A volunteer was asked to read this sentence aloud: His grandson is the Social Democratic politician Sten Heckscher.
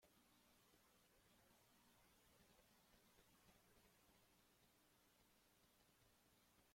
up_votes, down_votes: 0, 2